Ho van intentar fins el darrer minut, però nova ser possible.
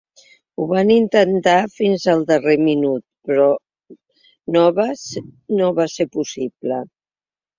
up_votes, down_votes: 0, 3